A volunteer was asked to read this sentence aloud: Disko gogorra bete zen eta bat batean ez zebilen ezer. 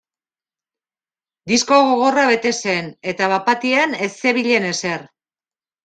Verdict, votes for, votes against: accepted, 2, 1